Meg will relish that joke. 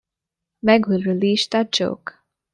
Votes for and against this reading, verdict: 1, 2, rejected